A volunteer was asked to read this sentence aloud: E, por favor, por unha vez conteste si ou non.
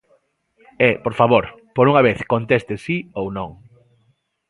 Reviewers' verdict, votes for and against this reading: accepted, 2, 0